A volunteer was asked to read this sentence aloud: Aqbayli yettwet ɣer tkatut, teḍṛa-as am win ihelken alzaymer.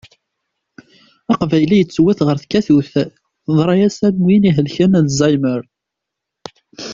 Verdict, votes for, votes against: accepted, 2, 0